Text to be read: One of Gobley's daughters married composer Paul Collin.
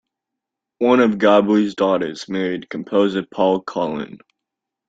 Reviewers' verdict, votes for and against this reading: accepted, 2, 0